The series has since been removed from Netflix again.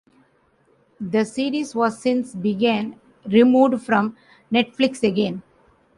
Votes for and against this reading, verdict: 2, 1, accepted